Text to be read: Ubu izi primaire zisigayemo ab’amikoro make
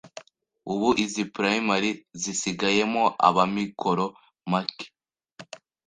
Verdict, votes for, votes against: accepted, 2, 0